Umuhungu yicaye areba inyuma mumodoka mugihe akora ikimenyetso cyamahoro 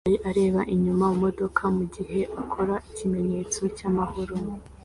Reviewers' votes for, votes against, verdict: 2, 0, accepted